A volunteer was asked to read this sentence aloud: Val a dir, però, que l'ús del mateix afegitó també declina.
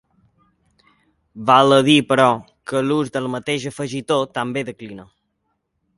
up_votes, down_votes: 2, 0